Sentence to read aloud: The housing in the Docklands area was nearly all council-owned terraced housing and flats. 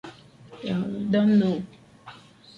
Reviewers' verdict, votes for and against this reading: rejected, 0, 2